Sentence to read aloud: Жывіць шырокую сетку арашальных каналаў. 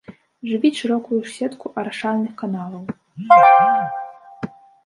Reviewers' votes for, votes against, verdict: 0, 2, rejected